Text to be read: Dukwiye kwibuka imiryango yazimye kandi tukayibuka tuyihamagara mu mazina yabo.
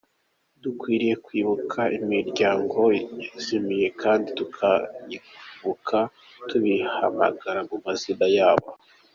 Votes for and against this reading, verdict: 2, 1, accepted